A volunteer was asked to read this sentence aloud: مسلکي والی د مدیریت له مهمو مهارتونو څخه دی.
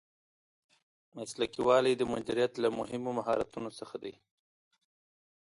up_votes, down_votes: 2, 0